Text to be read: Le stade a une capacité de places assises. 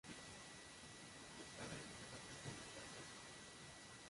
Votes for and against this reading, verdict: 0, 2, rejected